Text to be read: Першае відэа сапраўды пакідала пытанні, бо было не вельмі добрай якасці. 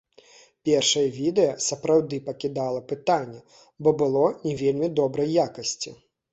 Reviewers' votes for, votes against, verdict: 2, 0, accepted